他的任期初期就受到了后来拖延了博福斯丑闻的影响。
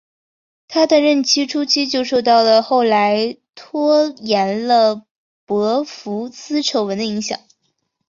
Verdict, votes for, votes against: accepted, 2, 0